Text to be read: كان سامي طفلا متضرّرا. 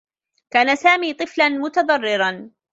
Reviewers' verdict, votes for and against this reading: rejected, 0, 2